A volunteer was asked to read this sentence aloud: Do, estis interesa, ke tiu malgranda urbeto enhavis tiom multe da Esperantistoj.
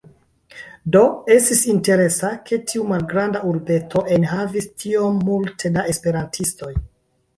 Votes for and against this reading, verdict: 2, 0, accepted